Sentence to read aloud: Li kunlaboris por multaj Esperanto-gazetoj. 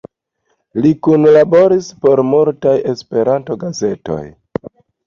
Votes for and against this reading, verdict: 2, 0, accepted